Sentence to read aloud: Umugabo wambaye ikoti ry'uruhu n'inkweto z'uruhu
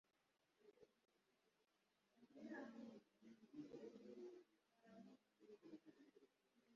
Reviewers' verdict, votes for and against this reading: rejected, 0, 2